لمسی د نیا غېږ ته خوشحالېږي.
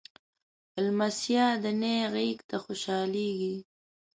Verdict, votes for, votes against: accepted, 4, 1